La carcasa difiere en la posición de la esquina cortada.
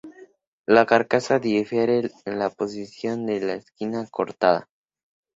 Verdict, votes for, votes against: accepted, 2, 0